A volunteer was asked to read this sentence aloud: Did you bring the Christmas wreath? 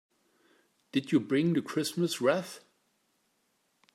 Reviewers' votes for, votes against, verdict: 2, 0, accepted